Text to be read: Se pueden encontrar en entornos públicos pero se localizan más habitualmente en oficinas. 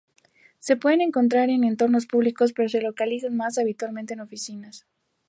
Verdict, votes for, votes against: accepted, 2, 0